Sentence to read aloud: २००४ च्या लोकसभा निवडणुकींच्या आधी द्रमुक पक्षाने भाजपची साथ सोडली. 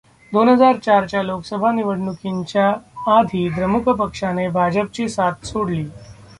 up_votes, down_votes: 0, 2